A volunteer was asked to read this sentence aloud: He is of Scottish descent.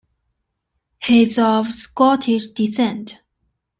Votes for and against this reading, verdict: 2, 1, accepted